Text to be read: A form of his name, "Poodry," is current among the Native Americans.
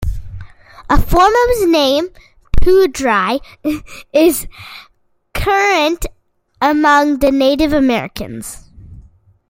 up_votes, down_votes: 2, 1